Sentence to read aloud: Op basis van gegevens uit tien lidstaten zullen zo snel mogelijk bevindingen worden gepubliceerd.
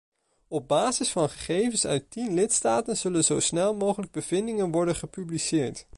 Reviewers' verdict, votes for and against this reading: accepted, 2, 0